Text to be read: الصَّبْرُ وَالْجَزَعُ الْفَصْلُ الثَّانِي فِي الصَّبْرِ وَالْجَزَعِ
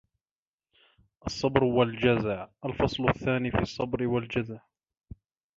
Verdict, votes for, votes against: rejected, 0, 2